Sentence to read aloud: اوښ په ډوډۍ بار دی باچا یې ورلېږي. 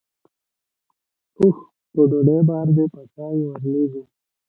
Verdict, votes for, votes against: rejected, 1, 2